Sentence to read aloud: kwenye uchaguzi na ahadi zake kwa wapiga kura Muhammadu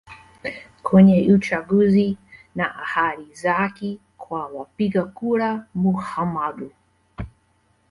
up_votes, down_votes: 0, 2